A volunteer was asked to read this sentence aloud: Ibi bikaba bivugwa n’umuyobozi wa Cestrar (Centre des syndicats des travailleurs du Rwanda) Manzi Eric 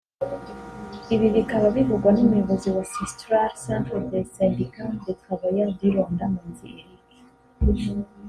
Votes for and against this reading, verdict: 4, 0, accepted